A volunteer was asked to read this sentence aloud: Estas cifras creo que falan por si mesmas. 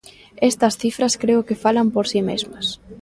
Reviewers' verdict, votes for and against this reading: accepted, 2, 0